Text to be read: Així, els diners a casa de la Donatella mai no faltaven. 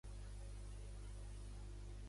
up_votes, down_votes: 1, 3